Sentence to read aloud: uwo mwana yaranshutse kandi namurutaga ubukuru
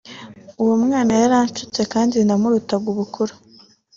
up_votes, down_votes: 2, 0